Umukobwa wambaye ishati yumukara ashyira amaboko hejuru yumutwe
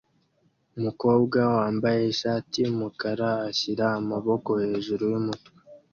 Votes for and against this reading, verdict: 2, 0, accepted